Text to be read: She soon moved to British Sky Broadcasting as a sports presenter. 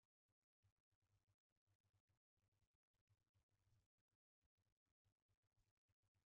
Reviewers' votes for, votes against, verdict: 0, 2, rejected